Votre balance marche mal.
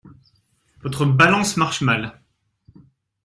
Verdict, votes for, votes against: accepted, 2, 0